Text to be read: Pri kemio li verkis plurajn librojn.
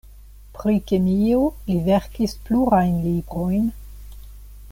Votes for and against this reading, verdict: 2, 0, accepted